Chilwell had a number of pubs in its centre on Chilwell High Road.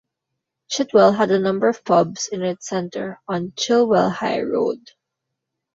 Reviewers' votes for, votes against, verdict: 0, 2, rejected